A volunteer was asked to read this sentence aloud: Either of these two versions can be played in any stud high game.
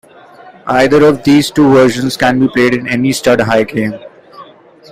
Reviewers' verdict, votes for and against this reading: accepted, 2, 0